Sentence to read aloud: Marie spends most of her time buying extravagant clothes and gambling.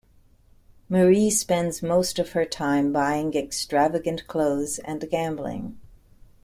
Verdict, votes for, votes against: accepted, 2, 0